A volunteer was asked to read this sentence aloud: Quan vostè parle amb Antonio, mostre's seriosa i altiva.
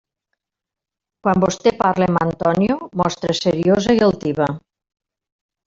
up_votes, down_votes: 1, 2